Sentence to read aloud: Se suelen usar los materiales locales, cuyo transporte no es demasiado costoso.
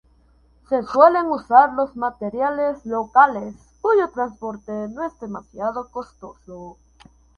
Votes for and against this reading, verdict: 2, 0, accepted